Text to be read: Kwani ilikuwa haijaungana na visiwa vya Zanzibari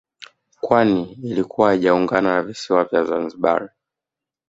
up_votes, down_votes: 1, 2